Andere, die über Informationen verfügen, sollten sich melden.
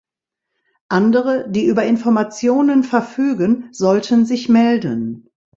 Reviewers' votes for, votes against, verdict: 2, 0, accepted